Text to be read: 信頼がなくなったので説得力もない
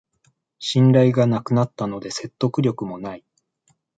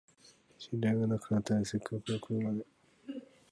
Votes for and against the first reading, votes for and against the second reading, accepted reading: 2, 0, 0, 2, first